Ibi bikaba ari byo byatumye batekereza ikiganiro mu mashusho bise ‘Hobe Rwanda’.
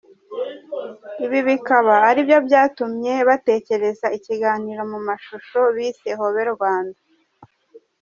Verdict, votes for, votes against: accepted, 2, 0